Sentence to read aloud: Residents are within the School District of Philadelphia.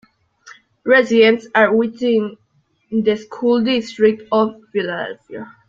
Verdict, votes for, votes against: rejected, 1, 2